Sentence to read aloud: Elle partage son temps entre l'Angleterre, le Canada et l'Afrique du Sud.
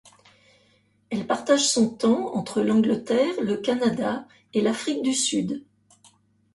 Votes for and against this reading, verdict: 2, 0, accepted